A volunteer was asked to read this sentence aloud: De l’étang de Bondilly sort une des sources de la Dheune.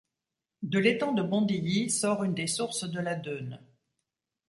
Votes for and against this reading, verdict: 2, 0, accepted